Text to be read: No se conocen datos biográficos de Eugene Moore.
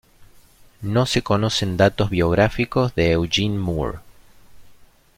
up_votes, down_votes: 2, 0